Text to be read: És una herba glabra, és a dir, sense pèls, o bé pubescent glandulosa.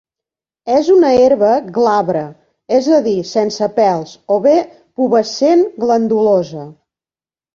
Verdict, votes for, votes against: accepted, 2, 0